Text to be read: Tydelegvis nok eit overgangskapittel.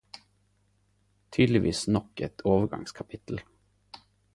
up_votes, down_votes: 4, 0